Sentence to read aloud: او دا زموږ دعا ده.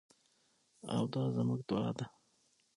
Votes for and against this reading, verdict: 6, 0, accepted